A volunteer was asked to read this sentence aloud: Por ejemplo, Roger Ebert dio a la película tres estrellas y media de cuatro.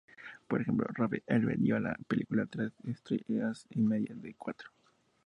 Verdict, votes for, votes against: rejected, 0, 2